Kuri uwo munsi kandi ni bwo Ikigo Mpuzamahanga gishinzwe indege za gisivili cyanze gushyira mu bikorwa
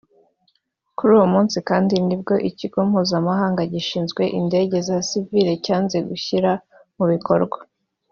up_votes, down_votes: 2, 1